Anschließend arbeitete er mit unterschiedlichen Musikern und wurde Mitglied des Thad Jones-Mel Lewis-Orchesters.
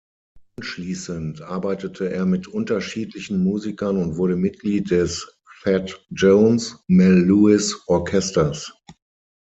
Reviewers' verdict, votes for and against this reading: rejected, 0, 6